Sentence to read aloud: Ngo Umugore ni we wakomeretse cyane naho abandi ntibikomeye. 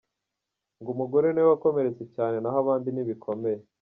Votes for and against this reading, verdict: 2, 0, accepted